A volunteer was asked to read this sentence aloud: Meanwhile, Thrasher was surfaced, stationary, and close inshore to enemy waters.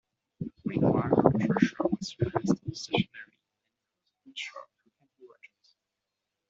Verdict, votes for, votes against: rejected, 0, 2